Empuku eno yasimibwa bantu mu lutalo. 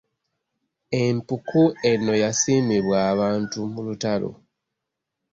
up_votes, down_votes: 1, 2